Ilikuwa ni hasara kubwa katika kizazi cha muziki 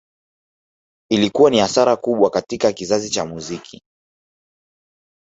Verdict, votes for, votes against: rejected, 1, 2